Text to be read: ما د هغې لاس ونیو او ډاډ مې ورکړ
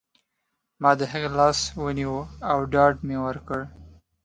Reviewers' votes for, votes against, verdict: 2, 0, accepted